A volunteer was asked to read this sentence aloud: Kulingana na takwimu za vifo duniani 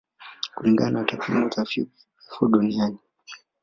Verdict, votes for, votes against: accepted, 2, 1